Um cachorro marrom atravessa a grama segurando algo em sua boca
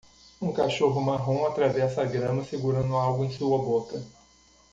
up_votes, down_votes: 2, 0